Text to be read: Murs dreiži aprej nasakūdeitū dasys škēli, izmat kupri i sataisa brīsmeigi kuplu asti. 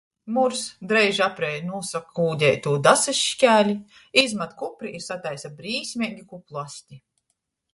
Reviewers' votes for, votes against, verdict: 0, 2, rejected